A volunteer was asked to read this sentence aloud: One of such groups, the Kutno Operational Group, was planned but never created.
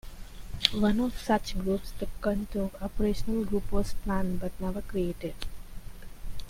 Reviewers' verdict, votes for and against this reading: rejected, 0, 2